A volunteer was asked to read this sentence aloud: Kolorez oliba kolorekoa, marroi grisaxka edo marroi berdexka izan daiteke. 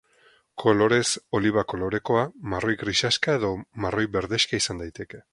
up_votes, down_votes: 4, 0